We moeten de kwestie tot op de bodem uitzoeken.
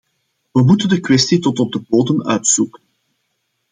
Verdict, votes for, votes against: accepted, 2, 0